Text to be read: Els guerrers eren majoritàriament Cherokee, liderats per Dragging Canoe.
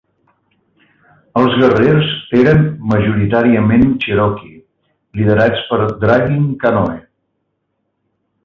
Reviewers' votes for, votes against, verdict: 2, 0, accepted